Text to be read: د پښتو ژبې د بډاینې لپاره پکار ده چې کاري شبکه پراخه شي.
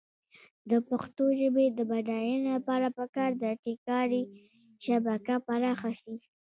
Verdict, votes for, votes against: rejected, 1, 2